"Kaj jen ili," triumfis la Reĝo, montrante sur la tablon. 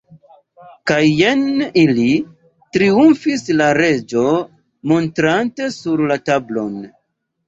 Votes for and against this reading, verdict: 2, 0, accepted